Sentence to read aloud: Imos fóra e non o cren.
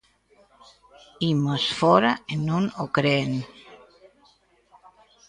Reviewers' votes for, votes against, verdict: 0, 2, rejected